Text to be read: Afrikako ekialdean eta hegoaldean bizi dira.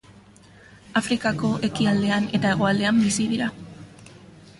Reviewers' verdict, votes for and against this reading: accepted, 2, 0